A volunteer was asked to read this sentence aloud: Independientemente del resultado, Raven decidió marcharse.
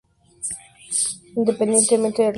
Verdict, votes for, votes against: rejected, 0, 2